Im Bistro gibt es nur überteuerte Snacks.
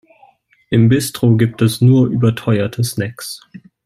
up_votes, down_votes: 3, 0